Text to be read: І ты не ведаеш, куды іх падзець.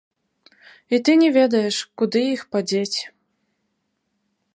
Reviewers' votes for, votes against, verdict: 1, 2, rejected